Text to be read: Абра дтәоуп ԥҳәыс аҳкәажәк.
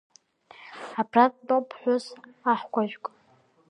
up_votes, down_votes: 2, 0